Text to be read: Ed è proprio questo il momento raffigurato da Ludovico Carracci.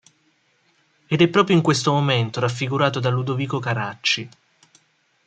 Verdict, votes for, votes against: accepted, 2, 0